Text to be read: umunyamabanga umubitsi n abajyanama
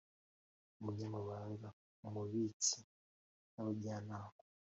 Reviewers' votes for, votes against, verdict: 2, 0, accepted